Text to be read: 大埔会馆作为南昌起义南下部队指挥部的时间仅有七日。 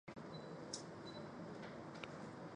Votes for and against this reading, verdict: 0, 4, rejected